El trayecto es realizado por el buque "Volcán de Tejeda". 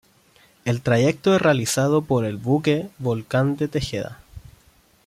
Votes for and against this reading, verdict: 2, 0, accepted